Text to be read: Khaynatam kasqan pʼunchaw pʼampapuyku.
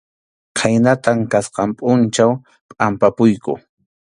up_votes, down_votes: 2, 0